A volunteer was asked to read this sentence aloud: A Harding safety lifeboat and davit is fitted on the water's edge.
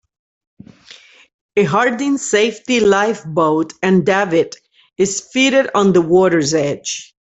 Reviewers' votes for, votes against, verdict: 2, 0, accepted